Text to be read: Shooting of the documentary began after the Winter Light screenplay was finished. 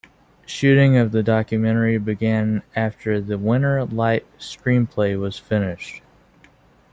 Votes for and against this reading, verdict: 1, 2, rejected